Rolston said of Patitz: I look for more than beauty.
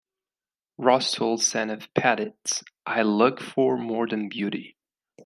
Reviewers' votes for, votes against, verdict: 2, 0, accepted